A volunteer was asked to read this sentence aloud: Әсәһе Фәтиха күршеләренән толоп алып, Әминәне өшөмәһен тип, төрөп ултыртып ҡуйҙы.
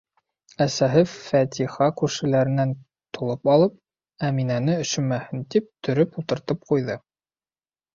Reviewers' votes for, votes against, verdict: 2, 0, accepted